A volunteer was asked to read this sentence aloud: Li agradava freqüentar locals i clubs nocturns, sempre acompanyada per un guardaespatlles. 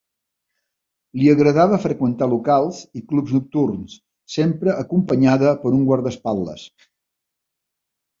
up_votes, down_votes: 1, 2